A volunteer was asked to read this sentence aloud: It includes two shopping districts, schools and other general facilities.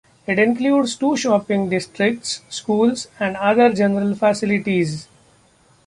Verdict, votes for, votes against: accepted, 2, 0